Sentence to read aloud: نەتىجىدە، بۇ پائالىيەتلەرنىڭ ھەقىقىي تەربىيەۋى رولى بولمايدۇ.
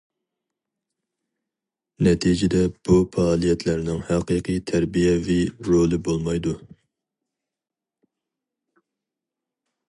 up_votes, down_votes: 4, 0